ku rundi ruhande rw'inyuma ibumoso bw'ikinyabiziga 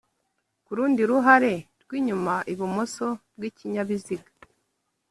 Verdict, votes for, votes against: rejected, 0, 3